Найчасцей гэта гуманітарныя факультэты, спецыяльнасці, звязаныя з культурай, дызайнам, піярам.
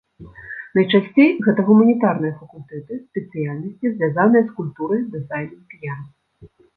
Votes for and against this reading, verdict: 1, 2, rejected